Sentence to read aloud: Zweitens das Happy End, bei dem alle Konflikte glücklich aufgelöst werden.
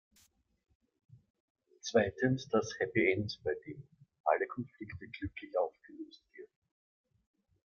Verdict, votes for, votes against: rejected, 0, 2